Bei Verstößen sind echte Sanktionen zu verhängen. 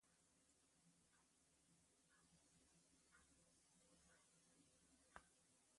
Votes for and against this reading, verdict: 0, 2, rejected